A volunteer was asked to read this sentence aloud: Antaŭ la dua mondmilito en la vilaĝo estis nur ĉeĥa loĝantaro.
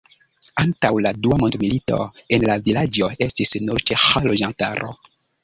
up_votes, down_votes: 2, 0